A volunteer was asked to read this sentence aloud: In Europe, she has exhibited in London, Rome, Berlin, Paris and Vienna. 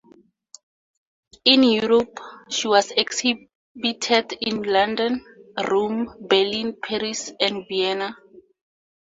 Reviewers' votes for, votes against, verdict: 4, 0, accepted